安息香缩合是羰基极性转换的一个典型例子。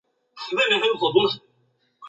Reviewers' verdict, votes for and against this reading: rejected, 1, 4